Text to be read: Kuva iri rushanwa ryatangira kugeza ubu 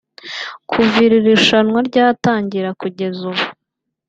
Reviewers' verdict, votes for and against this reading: rejected, 1, 2